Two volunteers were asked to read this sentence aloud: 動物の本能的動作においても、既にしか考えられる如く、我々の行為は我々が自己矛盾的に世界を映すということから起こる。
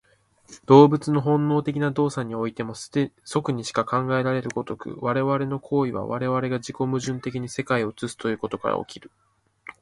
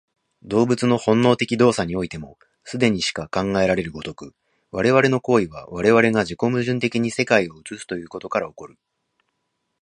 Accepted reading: second